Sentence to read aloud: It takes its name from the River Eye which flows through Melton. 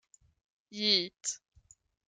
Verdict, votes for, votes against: rejected, 0, 2